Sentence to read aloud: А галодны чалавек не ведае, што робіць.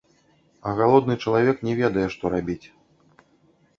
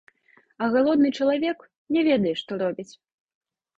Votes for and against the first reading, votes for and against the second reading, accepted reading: 0, 2, 2, 1, second